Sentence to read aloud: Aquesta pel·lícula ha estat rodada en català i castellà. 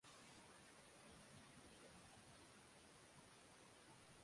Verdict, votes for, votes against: rejected, 0, 2